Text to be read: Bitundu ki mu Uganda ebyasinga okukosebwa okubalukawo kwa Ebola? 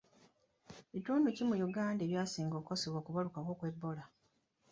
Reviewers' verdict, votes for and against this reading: accepted, 2, 0